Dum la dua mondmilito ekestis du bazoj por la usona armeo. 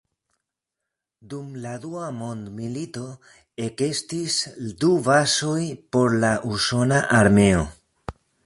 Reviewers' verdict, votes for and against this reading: rejected, 1, 2